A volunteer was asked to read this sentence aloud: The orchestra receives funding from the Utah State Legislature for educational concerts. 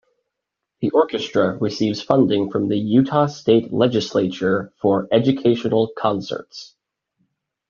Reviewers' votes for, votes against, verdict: 2, 0, accepted